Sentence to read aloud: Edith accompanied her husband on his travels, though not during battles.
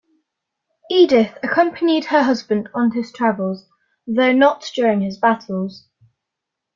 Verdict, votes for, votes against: rejected, 0, 2